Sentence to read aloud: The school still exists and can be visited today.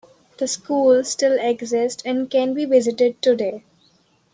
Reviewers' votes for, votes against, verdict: 1, 2, rejected